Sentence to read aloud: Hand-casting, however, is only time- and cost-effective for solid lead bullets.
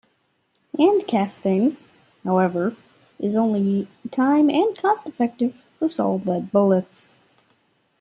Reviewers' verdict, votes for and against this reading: accepted, 2, 0